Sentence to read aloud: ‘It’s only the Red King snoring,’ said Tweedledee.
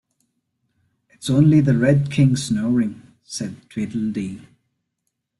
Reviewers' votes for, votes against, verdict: 2, 0, accepted